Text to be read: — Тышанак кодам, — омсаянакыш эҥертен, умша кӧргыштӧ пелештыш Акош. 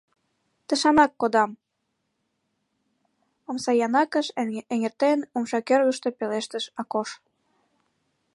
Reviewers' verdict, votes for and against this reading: accepted, 2, 1